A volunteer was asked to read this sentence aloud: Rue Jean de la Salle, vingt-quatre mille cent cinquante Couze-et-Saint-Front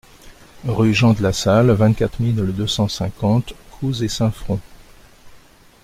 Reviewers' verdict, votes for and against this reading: rejected, 1, 2